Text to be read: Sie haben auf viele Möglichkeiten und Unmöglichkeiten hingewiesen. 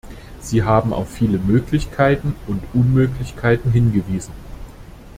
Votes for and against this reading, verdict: 2, 0, accepted